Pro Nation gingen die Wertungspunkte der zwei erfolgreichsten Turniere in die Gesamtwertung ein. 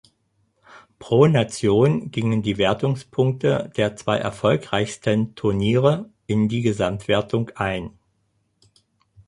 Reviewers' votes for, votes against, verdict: 4, 0, accepted